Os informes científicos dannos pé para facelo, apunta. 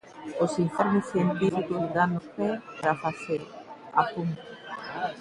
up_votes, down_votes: 1, 2